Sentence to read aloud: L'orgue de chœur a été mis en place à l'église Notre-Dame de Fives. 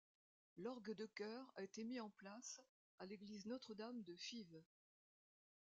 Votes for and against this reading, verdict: 2, 0, accepted